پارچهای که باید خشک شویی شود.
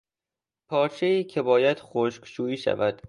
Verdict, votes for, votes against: accepted, 2, 0